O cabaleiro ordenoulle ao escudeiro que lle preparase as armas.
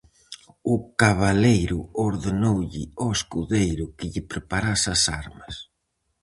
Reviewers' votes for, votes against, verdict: 4, 0, accepted